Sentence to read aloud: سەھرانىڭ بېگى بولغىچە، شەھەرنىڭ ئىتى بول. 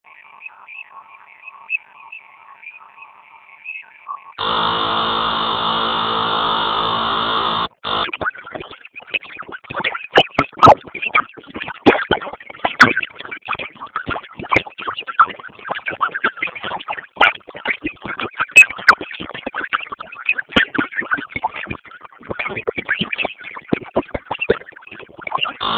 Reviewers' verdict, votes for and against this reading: rejected, 0, 2